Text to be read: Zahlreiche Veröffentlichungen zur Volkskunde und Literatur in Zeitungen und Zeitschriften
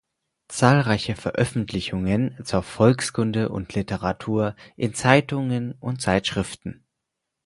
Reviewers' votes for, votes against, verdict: 4, 0, accepted